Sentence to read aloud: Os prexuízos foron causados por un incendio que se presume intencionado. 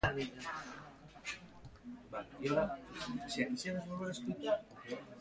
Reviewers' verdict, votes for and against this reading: rejected, 0, 3